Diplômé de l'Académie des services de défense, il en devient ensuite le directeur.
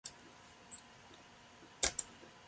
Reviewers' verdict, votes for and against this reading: rejected, 0, 2